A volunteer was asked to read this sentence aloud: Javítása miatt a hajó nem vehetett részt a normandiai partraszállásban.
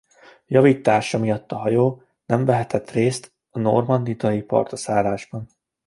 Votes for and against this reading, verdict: 0, 2, rejected